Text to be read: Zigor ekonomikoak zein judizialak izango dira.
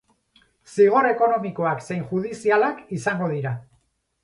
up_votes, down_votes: 4, 0